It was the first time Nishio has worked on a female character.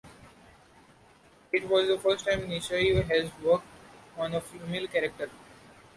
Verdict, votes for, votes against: accepted, 2, 1